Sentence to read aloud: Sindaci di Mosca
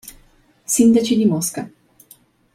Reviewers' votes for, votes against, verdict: 2, 0, accepted